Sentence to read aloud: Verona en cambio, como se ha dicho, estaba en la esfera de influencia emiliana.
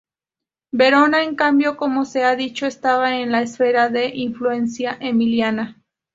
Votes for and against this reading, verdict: 4, 0, accepted